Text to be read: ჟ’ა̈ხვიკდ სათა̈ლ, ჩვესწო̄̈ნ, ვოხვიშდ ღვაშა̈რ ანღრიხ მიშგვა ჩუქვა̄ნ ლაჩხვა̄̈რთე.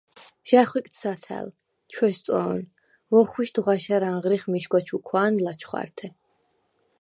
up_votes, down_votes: 0, 4